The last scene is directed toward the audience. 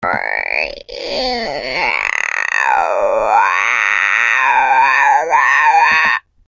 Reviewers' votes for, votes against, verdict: 0, 2, rejected